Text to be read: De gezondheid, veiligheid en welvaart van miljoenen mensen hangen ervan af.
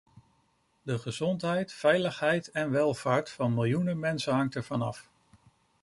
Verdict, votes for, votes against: rejected, 1, 2